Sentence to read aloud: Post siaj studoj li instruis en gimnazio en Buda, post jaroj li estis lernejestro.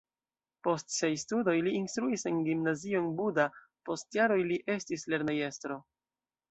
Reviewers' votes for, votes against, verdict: 2, 0, accepted